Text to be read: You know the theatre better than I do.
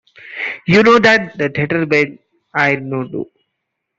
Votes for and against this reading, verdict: 0, 2, rejected